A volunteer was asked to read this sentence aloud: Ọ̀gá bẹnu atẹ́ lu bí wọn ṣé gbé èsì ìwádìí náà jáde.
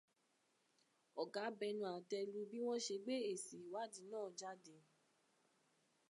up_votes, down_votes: 0, 2